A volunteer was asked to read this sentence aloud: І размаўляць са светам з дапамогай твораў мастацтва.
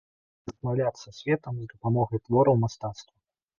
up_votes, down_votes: 1, 2